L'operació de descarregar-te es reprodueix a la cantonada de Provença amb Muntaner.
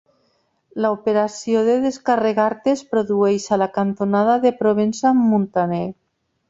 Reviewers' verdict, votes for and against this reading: accepted, 3, 0